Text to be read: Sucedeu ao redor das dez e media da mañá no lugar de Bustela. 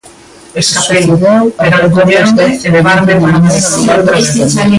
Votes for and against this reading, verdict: 1, 2, rejected